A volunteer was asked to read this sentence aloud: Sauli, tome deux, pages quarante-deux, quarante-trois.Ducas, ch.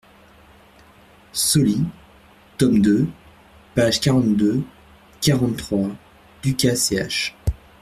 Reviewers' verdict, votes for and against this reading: rejected, 0, 2